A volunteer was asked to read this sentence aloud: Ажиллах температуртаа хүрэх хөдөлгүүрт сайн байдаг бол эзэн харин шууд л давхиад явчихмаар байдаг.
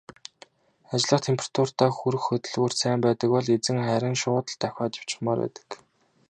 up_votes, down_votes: 2, 0